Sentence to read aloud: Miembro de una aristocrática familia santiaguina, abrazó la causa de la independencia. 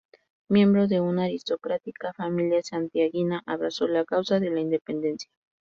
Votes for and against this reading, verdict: 2, 0, accepted